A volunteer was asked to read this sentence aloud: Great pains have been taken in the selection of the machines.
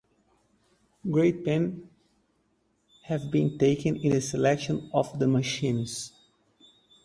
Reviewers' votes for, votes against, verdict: 2, 2, rejected